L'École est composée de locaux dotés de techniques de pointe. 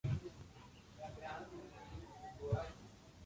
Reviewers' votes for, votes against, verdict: 0, 2, rejected